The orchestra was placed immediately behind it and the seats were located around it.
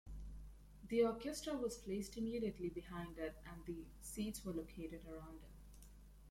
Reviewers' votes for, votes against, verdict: 2, 0, accepted